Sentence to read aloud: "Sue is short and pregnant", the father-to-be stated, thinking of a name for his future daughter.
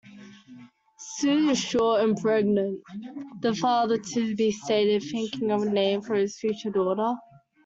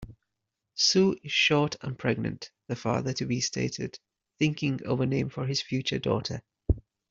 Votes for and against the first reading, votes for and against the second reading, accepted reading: 0, 2, 2, 0, second